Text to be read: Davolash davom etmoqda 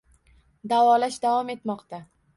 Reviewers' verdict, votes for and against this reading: rejected, 1, 2